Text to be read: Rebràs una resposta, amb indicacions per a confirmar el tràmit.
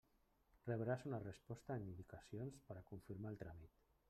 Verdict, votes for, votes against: rejected, 0, 2